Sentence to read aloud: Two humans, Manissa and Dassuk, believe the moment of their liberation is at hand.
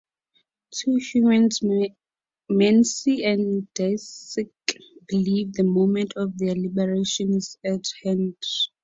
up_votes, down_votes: 2, 4